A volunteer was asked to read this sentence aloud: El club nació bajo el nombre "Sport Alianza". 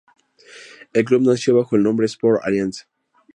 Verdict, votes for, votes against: accepted, 2, 0